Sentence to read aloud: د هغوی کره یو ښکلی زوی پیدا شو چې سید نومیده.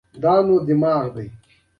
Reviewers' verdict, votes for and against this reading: rejected, 1, 2